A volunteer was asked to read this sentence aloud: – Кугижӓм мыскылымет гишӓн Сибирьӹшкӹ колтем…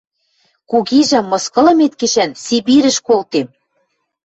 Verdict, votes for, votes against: rejected, 0, 2